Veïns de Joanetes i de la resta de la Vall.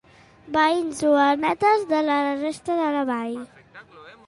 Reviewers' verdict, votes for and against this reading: rejected, 0, 2